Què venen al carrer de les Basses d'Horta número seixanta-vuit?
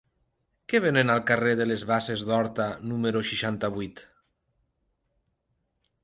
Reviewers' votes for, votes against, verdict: 3, 0, accepted